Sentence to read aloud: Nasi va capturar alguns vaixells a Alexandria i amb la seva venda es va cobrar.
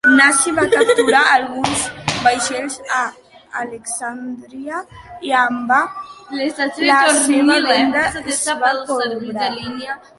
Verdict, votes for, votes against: rejected, 0, 2